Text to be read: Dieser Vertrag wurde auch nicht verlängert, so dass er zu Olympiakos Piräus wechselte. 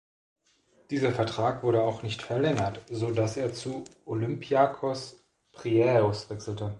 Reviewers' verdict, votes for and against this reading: rejected, 0, 2